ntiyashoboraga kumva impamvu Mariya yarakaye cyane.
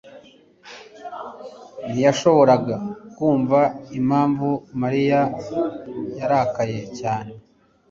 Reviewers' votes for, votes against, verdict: 2, 0, accepted